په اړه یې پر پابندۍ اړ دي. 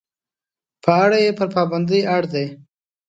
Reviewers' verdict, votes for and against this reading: accepted, 2, 0